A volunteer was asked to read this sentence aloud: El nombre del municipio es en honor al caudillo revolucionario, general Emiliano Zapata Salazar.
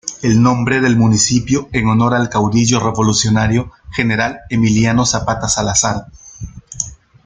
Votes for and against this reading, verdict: 1, 2, rejected